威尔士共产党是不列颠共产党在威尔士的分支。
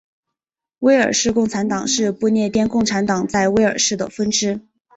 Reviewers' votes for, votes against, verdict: 2, 0, accepted